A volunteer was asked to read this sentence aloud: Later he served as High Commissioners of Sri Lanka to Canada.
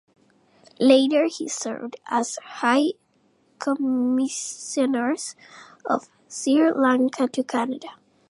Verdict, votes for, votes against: rejected, 0, 2